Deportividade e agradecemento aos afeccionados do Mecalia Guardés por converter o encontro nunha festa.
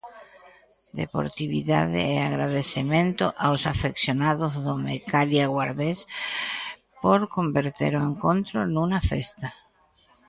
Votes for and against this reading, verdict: 1, 2, rejected